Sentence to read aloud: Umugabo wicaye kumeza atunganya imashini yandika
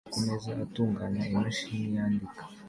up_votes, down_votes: 2, 0